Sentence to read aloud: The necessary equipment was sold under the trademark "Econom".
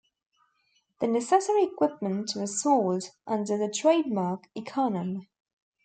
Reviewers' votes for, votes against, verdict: 2, 0, accepted